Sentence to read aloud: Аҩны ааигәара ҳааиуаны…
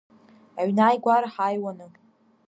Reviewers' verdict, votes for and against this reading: accepted, 2, 0